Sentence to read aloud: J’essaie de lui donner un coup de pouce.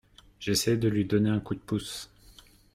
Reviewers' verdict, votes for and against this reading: accepted, 2, 0